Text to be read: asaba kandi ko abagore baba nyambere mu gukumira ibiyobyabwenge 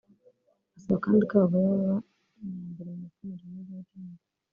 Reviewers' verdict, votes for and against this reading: rejected, 0, 2